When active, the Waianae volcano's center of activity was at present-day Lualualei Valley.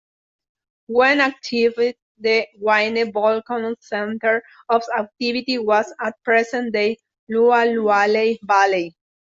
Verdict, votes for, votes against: rejected, 1, 2